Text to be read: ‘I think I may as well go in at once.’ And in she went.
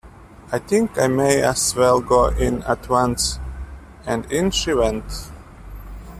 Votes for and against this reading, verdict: 3, 0, accepted